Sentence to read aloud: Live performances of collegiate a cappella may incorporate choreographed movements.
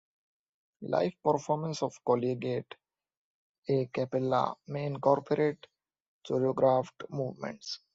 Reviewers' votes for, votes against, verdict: 2, 1, accepted